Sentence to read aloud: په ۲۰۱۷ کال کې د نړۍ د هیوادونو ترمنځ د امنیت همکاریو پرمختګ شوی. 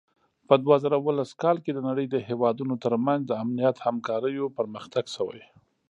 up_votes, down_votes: 0, 2